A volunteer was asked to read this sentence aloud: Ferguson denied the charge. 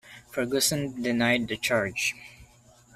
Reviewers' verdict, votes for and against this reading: accepted, 2, 0